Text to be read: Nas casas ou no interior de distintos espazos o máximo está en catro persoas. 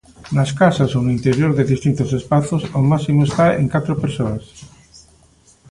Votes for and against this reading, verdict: 2, 0, accepted